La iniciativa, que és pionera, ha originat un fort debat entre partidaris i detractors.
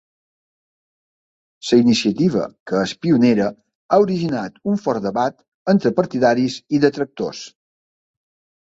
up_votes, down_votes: 2, 1